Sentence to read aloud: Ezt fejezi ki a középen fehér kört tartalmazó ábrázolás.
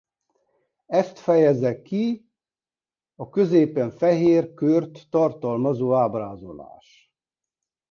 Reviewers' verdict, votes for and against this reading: rejected, 0, 2